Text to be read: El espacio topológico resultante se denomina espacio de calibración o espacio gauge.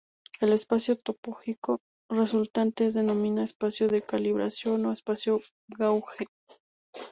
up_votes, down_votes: 0, 2